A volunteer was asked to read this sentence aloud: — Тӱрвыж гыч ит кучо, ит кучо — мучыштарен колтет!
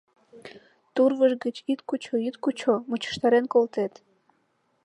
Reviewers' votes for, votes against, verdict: 0, 2, rejected